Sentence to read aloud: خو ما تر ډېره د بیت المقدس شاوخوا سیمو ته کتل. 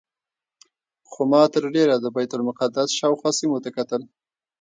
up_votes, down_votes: 1, 2